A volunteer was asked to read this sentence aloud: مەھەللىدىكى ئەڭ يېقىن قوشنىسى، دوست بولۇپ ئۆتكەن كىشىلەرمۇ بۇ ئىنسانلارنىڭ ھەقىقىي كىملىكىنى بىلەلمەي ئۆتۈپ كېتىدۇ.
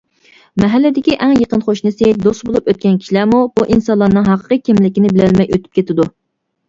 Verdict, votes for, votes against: accepted, 2, 0